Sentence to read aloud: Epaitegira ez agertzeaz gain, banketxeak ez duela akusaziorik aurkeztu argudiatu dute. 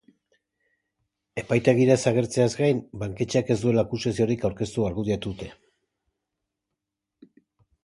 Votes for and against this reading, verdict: 3, 0, accepted